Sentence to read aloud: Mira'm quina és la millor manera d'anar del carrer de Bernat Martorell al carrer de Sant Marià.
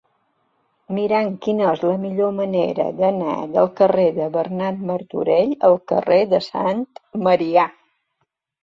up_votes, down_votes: 3, 0